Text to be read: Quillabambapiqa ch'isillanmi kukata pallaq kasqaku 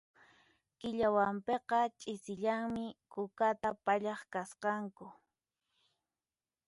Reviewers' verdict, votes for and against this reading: rejected, 0, 4